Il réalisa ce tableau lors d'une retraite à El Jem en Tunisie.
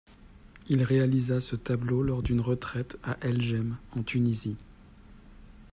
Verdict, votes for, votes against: accepted, 2, 1